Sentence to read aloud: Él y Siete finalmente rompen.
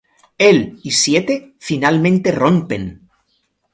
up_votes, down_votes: 2, 0